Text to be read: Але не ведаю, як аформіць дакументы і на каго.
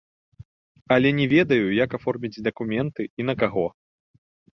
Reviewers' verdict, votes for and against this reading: rejected, 1, 2